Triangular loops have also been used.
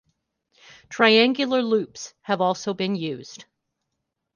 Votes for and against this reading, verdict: 2, 0, accepted